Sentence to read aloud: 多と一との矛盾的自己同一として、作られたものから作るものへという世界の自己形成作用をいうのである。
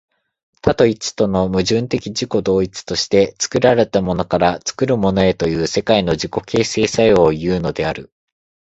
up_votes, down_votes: 2, 0